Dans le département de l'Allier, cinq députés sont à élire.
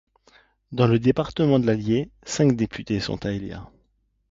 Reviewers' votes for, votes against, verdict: 2, 0, accepted